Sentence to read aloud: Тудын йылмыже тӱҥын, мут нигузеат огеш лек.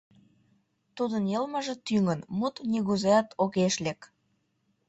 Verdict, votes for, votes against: accepted, 2, 0